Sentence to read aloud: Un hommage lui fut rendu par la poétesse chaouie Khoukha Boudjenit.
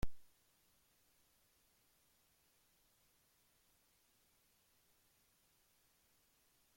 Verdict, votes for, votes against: rejected, 0, 2